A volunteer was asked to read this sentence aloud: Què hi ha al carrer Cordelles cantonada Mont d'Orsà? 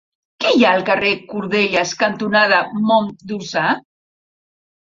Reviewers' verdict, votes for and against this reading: rejected, 1, 2